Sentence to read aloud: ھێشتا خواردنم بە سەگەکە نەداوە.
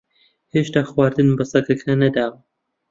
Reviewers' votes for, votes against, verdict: 1, 2, rejected